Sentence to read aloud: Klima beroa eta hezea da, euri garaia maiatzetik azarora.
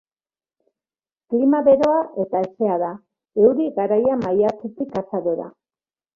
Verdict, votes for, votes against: accepted, 2, 0